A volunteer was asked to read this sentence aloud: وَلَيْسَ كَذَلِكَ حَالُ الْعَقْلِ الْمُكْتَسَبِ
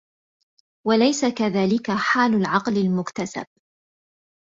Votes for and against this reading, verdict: 2, 0, accepted